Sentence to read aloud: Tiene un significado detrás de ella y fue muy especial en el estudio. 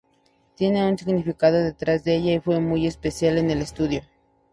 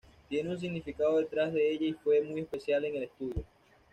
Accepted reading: first